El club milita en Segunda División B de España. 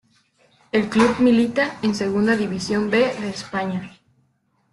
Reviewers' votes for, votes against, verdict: 2, 1, accepted